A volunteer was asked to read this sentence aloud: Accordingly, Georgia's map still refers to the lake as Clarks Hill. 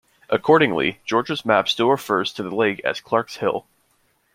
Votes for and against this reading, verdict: 2, 0, accepted